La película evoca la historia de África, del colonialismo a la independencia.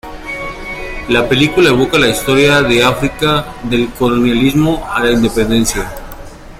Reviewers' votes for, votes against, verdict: 2, 0, accepted